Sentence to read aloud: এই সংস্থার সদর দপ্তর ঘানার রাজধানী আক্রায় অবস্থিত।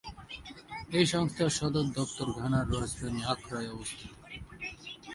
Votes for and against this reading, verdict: 5, 7, rejected